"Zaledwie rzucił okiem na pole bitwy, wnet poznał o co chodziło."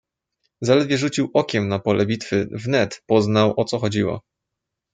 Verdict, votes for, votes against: accepted, 2, 0